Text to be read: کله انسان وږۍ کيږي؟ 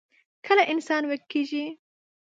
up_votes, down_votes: 0, 2